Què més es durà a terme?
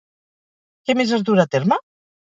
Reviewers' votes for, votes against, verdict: 2, 2, rejected